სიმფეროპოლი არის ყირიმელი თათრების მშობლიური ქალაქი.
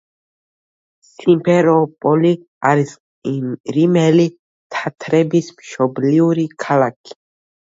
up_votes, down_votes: 1, 2